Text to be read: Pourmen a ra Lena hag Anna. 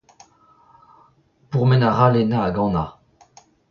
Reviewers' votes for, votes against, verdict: 2, 0, accepted